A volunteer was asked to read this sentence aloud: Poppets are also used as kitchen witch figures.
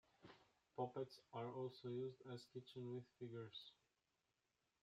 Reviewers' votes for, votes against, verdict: 2, 0, accepted